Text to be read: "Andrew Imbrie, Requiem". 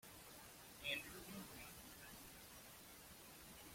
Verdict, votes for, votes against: rejected, 1, 2